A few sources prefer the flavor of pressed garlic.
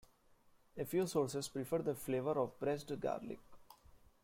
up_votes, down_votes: 2, 1